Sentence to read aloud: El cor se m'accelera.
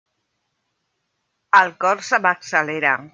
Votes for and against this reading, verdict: 3, 0, accepted